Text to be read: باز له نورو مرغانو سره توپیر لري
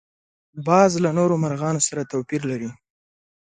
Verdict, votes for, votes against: accepted, 6, 0